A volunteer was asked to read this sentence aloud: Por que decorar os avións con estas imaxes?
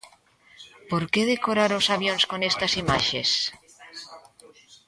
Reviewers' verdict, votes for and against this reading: accepted, 2, 1